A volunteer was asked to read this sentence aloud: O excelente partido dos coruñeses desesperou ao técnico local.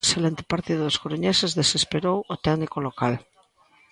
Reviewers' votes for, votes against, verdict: 1, 2, rejected